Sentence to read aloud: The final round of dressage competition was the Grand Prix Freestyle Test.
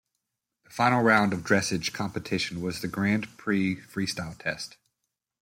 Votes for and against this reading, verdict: 0, 2, rejected